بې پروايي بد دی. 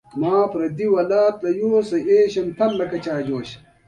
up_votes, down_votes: 2, 0